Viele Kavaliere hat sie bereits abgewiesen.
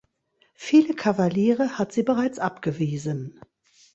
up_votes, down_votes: 2, 0